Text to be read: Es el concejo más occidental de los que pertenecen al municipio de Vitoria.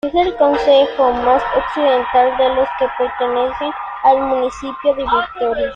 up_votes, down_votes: 3, 0